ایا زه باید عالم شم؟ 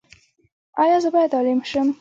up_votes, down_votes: 2, 1